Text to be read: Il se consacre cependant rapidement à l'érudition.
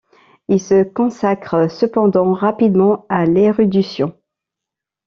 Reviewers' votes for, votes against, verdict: 2, 1, accepted